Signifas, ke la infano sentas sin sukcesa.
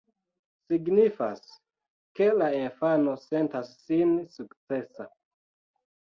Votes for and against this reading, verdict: 0, 2, rejected